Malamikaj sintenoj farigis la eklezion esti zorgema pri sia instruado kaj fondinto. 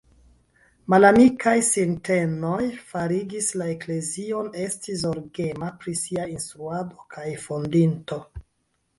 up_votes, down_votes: 2, 1